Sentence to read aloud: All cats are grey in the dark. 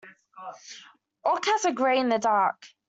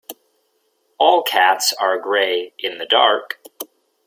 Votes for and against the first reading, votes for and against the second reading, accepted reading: 1, 2, 2, 0, second